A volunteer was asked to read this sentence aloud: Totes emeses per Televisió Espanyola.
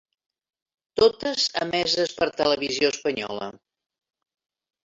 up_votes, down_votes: 3, 0